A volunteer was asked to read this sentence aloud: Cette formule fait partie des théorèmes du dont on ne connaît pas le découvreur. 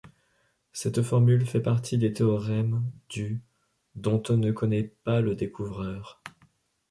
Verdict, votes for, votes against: accepted, 2, 0